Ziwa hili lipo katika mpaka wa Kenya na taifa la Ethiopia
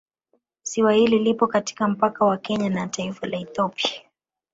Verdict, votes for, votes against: accepted, 2, 0